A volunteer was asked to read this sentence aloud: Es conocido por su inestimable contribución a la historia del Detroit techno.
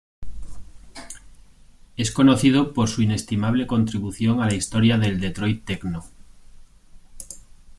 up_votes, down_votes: 2, 0